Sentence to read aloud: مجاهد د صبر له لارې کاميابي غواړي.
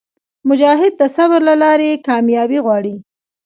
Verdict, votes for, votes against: accepted, 2, 0